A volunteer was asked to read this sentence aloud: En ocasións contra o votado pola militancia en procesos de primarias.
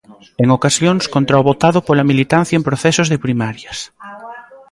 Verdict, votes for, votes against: rejected, 1, 2